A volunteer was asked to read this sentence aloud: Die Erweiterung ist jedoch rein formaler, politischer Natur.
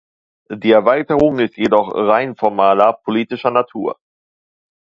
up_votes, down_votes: 2, 0